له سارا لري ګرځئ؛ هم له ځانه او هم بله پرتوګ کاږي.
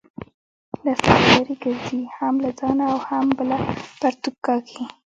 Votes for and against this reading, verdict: 2, 0, accepted